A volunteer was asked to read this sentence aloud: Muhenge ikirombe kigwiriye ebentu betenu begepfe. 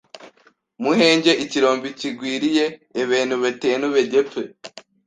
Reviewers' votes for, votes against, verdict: 1, 2, rejected